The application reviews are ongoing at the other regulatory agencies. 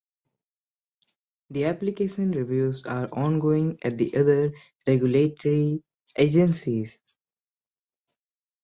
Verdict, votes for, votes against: accepted, 2, 0